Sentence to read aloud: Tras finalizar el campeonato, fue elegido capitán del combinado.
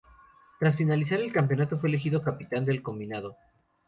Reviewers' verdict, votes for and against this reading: accepted, 4, 0